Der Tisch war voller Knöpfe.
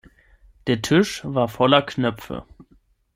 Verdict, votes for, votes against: accepted, 6, 0